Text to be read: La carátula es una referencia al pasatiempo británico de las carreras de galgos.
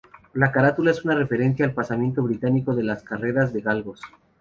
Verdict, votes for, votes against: rejected, 0, 2